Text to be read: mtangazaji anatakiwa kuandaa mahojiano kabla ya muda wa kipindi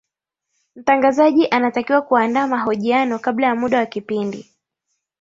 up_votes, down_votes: 2, 0